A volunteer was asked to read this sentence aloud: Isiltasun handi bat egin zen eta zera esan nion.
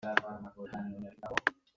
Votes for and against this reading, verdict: 0, 2, rejected